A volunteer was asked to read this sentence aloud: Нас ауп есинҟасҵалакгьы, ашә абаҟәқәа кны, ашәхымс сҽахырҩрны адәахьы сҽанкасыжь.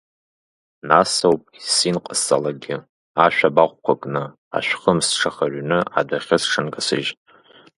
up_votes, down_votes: 2, 0